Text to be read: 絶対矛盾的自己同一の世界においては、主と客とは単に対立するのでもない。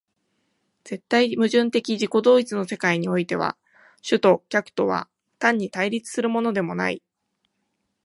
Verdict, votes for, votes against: accepted, 2, 0